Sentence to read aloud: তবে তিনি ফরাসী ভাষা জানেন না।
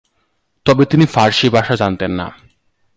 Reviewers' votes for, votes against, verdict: 1, 3, rejected